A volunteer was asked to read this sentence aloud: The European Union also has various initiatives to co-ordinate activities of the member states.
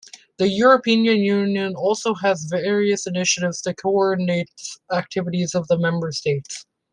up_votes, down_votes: 0, 2